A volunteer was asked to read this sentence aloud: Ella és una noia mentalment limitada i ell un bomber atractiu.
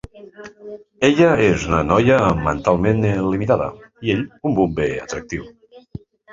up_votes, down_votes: 0, 2